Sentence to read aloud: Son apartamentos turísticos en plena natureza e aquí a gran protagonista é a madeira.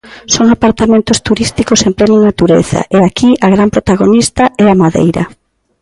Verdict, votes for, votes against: accepted, 2, 0